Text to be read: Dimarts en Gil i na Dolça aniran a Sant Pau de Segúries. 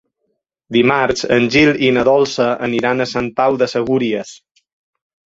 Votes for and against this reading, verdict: 5, 0, accepted